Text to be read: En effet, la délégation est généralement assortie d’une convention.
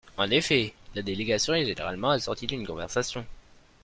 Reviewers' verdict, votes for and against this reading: rejected, 1, 2